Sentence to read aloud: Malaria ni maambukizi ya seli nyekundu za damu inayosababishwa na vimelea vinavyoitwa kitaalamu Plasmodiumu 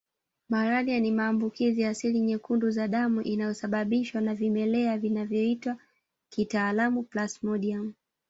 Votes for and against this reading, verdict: 1, 2, rejected